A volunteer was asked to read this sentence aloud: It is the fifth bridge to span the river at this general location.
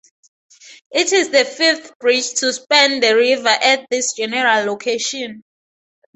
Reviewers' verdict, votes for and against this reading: accepted, 4, 0